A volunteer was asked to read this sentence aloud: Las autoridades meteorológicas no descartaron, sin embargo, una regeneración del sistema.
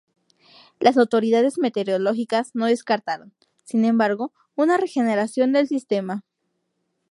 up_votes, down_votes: 0, 2